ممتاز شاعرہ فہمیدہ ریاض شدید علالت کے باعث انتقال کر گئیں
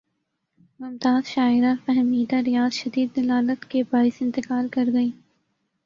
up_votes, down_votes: 1, 2